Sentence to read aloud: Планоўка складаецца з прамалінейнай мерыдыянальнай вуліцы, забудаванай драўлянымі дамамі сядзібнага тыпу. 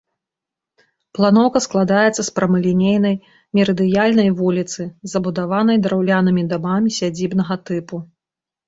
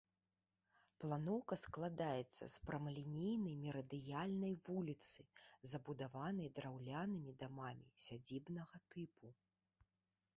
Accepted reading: second